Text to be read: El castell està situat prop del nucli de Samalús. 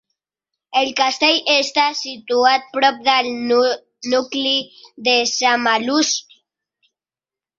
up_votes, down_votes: 0, 2